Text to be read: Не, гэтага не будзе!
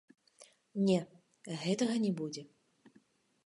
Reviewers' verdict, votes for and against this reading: accepted, 2, 0